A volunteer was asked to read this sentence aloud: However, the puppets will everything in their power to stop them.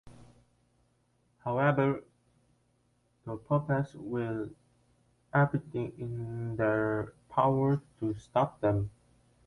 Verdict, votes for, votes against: rejected, 1, 2